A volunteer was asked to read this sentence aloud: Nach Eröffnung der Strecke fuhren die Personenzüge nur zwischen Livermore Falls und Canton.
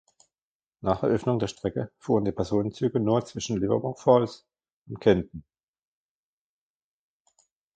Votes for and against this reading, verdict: 2, 1, accepted